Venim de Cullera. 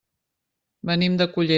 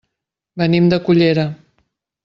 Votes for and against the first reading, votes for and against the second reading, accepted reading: 0, 2, 4, 0, second